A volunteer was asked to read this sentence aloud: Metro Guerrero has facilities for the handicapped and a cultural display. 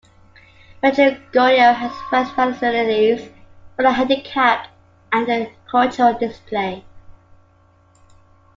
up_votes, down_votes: 0, 2